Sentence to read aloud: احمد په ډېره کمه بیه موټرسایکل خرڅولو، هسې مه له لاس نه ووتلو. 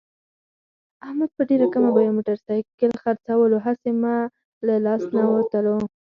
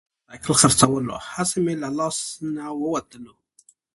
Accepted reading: second